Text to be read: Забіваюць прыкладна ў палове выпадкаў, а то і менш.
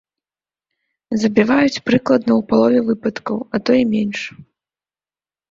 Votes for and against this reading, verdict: 2, 0, accepted